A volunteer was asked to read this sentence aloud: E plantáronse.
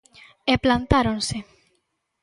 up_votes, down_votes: 3, 0